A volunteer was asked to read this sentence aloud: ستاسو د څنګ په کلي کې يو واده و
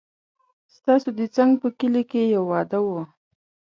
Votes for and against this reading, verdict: 3, 0, accepted